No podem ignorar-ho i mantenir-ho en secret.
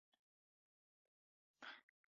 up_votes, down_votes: 0, 2